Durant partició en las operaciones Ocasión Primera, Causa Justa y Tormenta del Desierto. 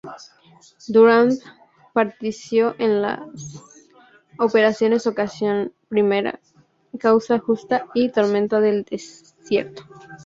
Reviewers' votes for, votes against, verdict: 0, 2, rejected